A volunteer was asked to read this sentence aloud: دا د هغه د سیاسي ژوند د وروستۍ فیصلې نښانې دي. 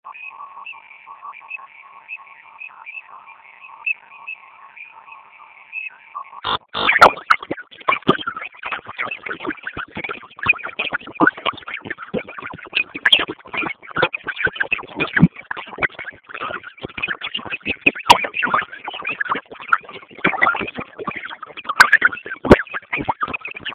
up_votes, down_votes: 0, 2